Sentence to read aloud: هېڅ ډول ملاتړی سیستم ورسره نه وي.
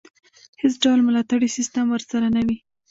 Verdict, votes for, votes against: rejected, 1, 2